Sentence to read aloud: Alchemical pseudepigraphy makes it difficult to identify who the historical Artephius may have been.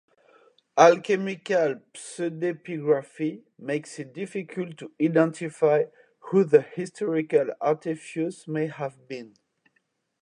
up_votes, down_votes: 0, 2